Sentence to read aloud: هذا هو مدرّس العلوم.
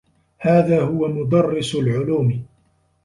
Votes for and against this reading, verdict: 1, 2, rejected